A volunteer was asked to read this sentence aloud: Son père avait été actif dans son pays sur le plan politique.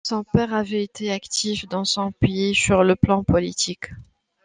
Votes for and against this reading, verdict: 2, 0, accepted